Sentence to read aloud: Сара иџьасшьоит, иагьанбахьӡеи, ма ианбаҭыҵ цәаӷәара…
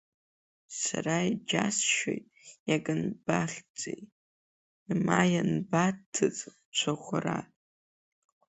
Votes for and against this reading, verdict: 1, 2, rejected